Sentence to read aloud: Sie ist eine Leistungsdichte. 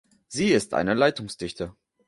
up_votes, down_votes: 0, 2